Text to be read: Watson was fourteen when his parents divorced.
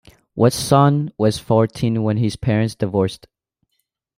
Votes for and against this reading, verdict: 2, 0, accepted